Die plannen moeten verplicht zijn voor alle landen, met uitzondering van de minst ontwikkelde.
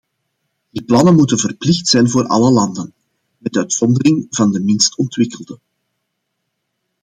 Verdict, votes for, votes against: accepted, 2, 0